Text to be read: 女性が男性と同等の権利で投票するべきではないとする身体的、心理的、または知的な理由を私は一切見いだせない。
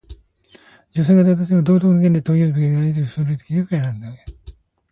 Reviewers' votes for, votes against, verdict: 0, 2, rejected